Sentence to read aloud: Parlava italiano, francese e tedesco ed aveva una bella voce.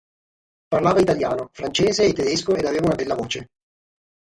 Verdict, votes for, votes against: rejected, 3, 3